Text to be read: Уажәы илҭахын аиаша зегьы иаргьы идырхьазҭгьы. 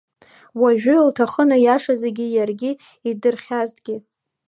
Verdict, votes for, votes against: accepted, 2, 0